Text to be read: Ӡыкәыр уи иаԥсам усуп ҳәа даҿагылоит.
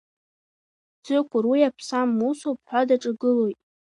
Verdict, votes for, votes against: rejected, 1, 2